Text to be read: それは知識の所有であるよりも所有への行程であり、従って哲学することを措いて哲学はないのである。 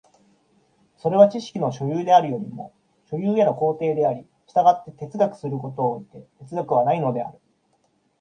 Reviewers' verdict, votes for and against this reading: accepted, 2, 0